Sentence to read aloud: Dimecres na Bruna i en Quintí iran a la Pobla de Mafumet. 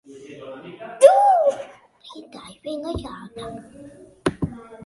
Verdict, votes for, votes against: rejected, 1, 2